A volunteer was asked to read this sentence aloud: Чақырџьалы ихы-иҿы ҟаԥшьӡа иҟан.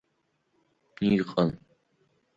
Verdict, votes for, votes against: rejected, 1, 2